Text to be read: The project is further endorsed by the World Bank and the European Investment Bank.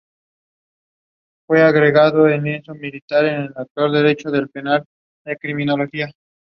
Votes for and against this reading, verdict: 0, 2, rejected